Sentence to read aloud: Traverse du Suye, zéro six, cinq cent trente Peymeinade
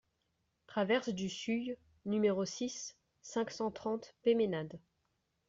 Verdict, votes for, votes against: rejected, 0, 2